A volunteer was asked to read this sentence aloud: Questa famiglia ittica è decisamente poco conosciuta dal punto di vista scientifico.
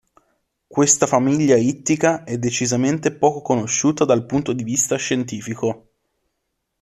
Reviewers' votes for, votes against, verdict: 2, 0, accepted